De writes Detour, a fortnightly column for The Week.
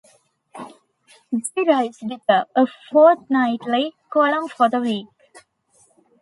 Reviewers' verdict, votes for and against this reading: accepted, 2, 0